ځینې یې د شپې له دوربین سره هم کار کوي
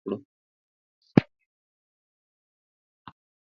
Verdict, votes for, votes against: rejected, 0, 2